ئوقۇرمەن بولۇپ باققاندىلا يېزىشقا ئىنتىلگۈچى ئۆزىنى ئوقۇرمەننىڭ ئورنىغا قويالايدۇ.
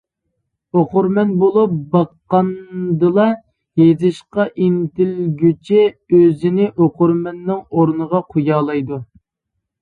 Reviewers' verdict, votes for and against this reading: accepted, 2, 0